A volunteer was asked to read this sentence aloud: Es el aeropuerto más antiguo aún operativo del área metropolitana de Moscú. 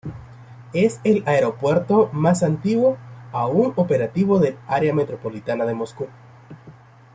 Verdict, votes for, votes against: accepted, 2, 1